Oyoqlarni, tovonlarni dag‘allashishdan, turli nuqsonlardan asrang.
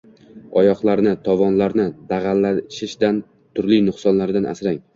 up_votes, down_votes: 1, 2